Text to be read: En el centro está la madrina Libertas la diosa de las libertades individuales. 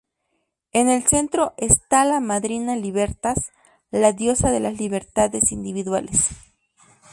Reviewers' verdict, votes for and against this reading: rejected, 2, 2